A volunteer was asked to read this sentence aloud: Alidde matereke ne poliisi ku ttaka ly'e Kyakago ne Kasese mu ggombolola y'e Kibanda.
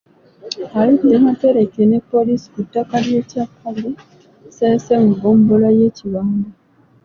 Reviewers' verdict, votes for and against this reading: rejected, 1, 2